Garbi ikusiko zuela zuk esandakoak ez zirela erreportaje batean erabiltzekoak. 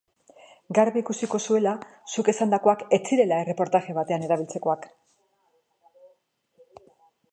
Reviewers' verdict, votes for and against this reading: rejected, 1, 2